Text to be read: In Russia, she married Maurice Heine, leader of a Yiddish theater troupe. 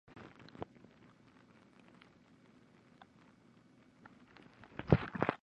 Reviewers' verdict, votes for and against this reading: rejected, 0, 2